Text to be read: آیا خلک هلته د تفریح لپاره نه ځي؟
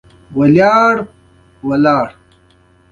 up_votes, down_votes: 2, 0